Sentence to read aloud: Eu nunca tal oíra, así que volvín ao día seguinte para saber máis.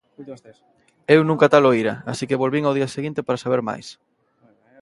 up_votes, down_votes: 0, 2